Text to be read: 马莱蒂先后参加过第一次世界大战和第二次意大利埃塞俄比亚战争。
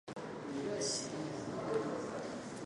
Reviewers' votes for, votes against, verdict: 1, 2, rejected